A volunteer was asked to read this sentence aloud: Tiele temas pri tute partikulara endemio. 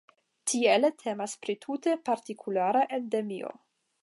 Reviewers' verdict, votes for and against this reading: accepted, 5, 0